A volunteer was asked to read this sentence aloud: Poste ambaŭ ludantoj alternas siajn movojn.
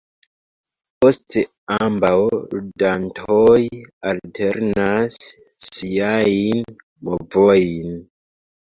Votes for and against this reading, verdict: 0, 2, rejected